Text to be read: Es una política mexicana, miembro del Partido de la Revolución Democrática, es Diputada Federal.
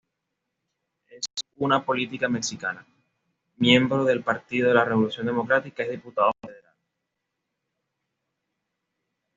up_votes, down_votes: 2, 0